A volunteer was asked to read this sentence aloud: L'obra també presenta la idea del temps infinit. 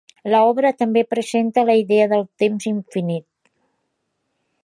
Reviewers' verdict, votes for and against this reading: rejected, 0, 2